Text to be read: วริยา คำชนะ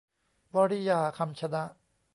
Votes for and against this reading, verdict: 2, 0, accepted